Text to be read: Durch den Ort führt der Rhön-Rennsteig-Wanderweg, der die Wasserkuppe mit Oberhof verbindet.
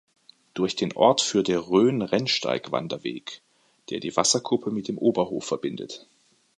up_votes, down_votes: 0, 2